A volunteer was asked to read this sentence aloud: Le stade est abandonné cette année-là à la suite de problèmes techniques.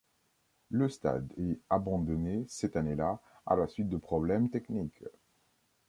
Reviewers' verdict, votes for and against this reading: accepted, 2, 0